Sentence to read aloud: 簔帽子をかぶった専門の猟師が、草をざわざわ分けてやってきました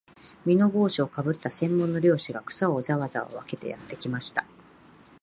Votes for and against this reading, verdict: 2, 1, accepted